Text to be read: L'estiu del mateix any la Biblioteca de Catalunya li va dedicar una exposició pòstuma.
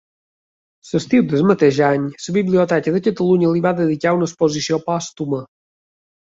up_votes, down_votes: 3, 0